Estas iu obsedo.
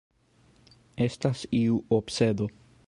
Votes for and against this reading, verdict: 2, 3, rejected